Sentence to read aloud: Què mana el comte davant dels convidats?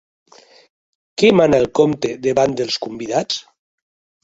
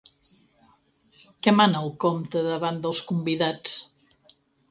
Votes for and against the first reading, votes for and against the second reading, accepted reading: 0, 3, 4, 0, second